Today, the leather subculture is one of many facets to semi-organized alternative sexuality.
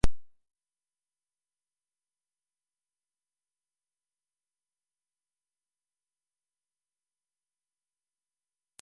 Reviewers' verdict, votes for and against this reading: rejected, 0, 2